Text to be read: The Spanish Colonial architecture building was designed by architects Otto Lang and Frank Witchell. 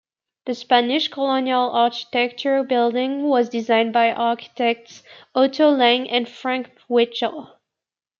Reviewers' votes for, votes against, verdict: 1, 2, rejected